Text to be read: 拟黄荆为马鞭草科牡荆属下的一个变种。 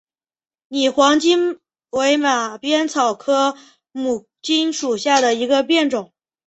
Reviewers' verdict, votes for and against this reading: accepted, 2, 0